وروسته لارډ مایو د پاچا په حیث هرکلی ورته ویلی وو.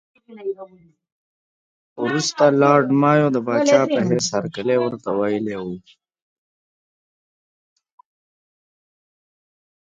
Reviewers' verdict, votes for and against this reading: rejected, 1, 2